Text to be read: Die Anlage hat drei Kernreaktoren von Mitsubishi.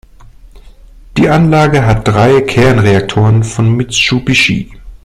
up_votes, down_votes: 0, 2